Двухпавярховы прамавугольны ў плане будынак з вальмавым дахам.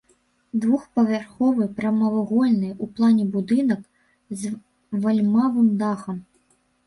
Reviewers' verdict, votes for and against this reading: rejected, 1, 3